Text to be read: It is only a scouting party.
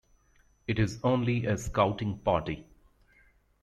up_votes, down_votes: 2, 0